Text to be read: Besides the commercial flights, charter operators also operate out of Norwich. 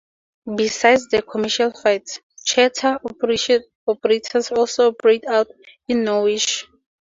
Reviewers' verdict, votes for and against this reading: accepted, 2, 0